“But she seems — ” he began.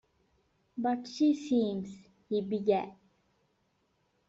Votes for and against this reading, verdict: 2, 0, accepted